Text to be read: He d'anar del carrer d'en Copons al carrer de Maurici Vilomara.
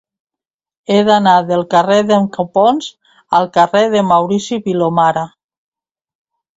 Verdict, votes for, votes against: accepted, 3, 0